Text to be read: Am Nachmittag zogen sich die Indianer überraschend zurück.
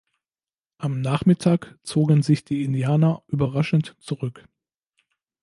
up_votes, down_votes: 2, 0